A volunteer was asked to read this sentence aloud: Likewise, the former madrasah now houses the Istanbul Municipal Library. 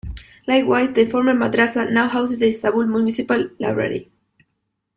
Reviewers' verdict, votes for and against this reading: rejected, 0, 2